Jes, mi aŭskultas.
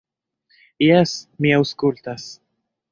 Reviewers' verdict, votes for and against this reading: rejected, 0, 2